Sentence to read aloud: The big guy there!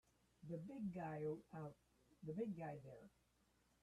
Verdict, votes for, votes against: rejected, 0, 3